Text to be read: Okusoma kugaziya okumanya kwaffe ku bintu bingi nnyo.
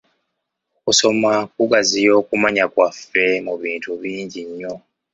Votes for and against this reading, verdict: 1, 2, rejected